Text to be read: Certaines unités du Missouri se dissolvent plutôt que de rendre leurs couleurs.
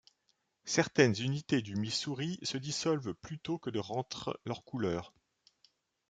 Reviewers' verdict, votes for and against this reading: rejected, 1, 2